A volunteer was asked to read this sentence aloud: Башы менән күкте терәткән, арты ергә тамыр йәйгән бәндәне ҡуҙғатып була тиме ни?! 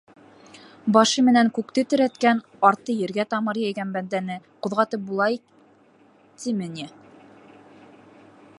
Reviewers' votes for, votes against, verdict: 1, 2, rejected